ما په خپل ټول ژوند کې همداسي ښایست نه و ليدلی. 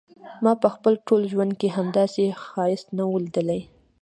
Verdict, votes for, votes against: accepted, 2, 0